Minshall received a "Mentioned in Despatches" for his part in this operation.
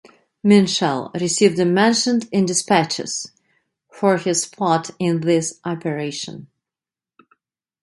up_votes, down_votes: 2, 0